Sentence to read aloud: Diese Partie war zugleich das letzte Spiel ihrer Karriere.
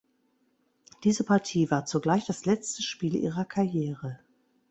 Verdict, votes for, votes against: accepted, 2, 0